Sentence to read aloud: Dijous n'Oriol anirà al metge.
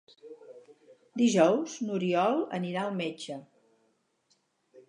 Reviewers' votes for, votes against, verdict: 4, 0, accepted